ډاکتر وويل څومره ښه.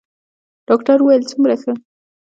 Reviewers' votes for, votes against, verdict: 2, 0, accepted